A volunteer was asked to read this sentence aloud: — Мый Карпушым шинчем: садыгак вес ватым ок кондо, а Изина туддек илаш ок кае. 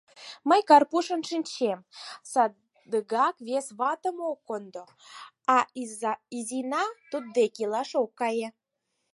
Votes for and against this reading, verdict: 4, 2, accepted